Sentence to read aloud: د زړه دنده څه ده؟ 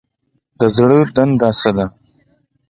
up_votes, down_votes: 2, 1